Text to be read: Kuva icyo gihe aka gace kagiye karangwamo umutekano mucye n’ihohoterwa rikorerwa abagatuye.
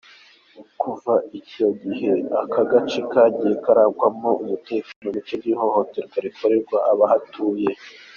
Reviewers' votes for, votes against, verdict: 1, 2, rejected